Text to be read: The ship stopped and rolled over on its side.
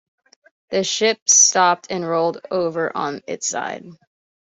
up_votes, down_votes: 2, 0